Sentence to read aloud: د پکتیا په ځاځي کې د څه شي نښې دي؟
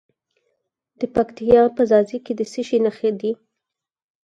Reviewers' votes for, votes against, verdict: 2, 4, rejected